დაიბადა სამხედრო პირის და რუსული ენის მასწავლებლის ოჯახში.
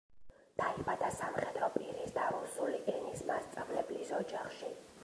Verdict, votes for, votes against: rejected, 1, 2